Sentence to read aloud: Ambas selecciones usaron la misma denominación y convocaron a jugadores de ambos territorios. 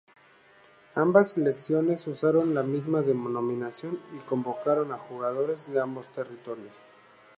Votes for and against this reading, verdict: 0, 2, rejected